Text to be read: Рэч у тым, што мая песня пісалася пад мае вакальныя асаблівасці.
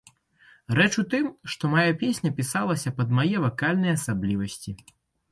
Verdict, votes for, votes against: accepted, 2, 0